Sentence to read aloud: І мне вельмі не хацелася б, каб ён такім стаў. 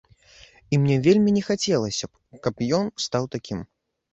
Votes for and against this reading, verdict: 1, 2, rejected